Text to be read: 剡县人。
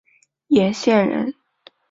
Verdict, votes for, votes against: accepted, 4, 0